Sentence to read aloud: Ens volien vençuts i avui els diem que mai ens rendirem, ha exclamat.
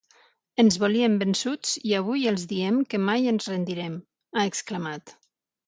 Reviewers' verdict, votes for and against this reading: accepted, 6, 0